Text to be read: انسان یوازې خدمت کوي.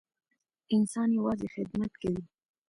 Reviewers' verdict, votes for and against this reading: accepted, 2, 1